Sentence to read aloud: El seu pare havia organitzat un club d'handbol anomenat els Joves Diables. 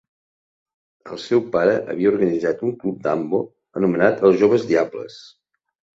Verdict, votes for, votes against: accepted, 2, 1